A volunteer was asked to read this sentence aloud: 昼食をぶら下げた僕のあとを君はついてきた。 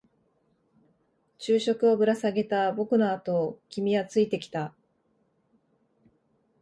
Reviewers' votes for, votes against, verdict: 4, 0, accepted